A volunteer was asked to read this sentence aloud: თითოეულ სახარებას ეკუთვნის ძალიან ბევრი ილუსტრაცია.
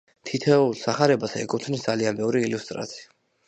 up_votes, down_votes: 0, 2